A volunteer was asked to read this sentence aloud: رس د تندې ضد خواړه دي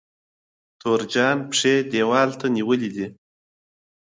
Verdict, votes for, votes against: rejected, 1, 3